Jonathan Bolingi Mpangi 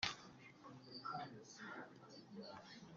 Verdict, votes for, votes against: rejected, 0, 2